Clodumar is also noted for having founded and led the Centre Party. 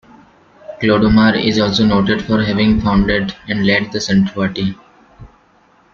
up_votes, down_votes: 2, 1